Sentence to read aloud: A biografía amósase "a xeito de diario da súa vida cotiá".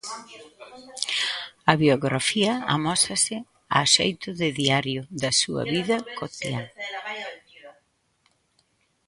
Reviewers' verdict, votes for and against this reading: rejected, 2, 3